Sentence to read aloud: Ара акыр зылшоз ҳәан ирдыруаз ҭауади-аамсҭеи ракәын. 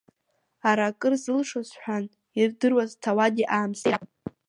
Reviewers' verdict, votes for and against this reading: accepted, 2, 1